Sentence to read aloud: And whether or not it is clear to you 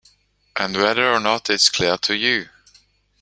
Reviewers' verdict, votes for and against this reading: rejected, 1, 2